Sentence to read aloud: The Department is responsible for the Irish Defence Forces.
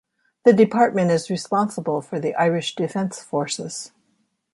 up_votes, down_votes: 2, 0